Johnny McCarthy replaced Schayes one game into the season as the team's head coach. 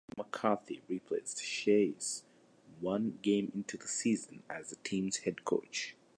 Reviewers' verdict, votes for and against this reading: rejected, 0, 2